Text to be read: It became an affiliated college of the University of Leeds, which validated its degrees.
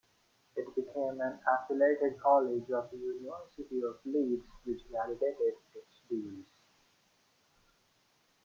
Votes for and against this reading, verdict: 0, 2, rejected